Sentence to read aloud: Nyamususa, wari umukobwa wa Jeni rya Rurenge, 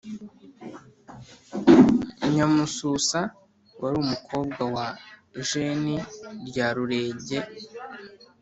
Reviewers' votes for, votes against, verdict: 2, 1, accepted